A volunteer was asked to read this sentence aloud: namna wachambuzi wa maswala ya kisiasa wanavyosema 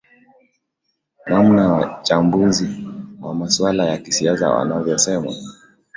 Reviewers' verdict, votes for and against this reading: accepted, 2, 0